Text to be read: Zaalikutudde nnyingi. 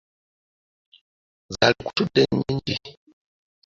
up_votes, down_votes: 0, 2